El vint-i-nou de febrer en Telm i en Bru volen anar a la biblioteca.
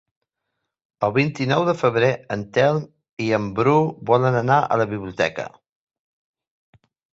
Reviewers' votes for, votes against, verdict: 3, 0, accepted